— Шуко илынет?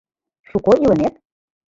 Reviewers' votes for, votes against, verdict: 1, 2, rejected